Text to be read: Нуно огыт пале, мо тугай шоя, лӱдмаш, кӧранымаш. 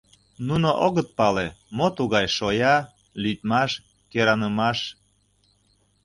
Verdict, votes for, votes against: accepted, 2, 0